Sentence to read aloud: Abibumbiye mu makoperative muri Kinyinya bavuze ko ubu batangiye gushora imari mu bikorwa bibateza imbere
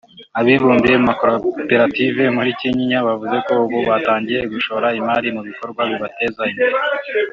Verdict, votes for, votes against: accepted, 3, 1